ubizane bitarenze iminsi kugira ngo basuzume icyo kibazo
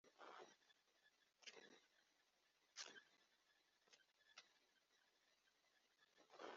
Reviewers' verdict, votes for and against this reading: rejected, 1, 2